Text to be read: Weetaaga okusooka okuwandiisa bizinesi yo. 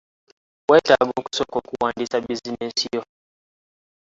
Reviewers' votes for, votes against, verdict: 1, 2, rejected